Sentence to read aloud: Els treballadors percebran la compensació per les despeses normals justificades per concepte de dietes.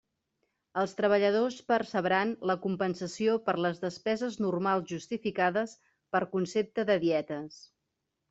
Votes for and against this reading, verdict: 3, 0, accepted